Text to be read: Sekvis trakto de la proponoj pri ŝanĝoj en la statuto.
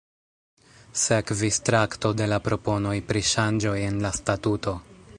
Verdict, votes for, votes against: rejected, 1, 2